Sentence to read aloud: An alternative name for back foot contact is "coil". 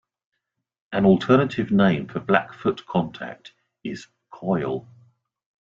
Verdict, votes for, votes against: rejected, 1, 2